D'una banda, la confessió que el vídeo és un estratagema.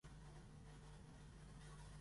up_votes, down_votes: 1, 2